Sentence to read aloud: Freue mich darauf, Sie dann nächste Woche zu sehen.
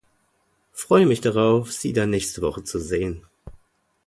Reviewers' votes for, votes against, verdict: 2, 0, accepted